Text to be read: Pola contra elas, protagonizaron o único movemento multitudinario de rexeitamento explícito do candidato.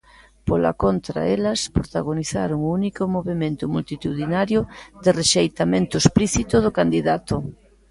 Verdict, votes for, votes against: rejected, 1, 2